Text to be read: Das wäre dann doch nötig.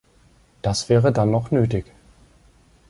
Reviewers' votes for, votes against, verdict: 1, 2, rejected